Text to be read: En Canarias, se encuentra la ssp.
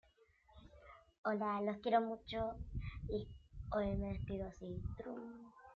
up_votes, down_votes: 1, 2